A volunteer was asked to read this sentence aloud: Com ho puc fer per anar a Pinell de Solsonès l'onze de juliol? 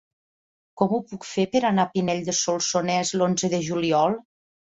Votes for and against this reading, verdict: 5, 0, accepted